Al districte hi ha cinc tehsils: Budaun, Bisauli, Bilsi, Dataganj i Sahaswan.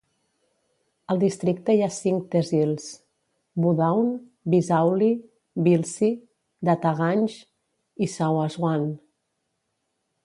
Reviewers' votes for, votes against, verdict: 0, 2, rejected